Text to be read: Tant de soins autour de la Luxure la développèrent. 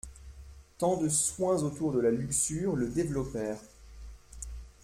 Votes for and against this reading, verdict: 1, 2, rejected